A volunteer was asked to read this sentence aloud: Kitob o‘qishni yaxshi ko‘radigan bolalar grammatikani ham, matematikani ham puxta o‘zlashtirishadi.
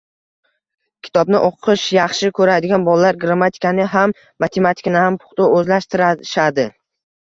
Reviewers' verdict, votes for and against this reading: rejected, 0, 2